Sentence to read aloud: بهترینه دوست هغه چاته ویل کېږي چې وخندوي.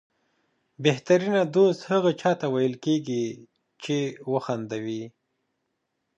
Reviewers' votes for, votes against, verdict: 2, 0, accepted